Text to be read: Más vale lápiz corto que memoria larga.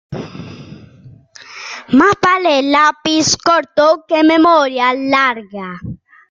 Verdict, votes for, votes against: accepted, 2, 0